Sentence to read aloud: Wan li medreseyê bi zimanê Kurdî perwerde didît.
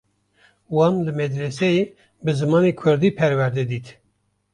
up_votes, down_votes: 1, 2